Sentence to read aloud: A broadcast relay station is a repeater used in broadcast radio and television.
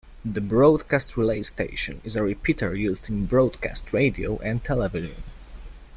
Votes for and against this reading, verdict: 0, 2, rejected